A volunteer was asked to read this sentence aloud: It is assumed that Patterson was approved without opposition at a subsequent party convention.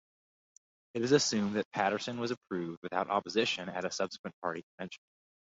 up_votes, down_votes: 4, 0